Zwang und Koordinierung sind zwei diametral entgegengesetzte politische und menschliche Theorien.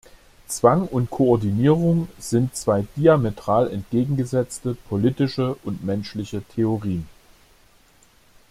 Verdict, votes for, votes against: accepted, 2, 0